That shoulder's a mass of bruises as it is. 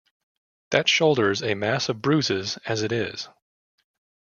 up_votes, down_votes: 2, 0